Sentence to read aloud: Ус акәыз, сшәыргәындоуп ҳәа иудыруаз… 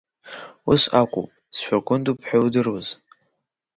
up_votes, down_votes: 2, 0